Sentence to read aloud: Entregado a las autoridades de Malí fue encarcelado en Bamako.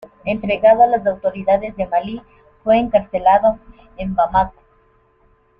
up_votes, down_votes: 0, 2